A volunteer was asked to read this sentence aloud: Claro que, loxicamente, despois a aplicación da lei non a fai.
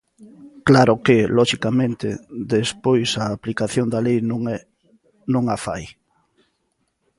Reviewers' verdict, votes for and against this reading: rejected, 1, 2